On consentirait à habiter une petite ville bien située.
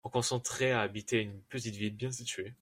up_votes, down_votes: 0, 2